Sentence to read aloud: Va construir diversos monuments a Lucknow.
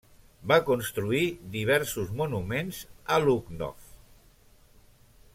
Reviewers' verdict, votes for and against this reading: accepted, 2, 0